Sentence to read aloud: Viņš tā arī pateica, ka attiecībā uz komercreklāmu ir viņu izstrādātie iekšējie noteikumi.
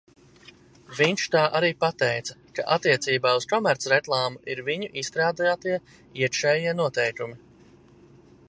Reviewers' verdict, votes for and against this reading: accepted, 2, 0